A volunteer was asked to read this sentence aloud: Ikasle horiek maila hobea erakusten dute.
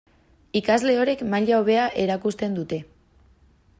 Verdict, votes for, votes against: accepted, 2, 0